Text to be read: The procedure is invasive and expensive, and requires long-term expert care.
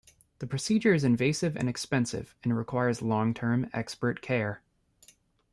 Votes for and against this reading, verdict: 2, 0, accepted